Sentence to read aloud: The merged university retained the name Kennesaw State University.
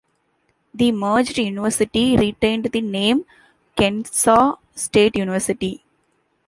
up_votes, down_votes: 2, 1